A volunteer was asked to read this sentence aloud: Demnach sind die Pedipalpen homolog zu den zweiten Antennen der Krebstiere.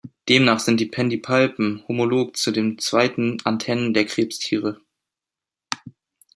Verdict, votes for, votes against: rejected, 1, 2